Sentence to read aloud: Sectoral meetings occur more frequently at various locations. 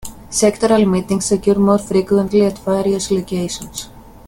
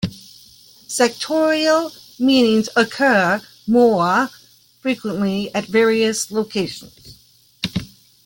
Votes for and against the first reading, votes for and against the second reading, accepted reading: 2, 0, 1, 2, first